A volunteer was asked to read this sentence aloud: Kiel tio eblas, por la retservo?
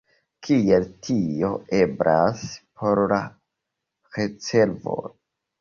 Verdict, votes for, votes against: rejected, 1, 2